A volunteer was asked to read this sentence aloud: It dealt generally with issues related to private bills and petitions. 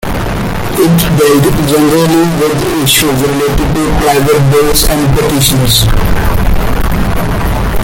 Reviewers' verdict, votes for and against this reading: rejected, 1, 2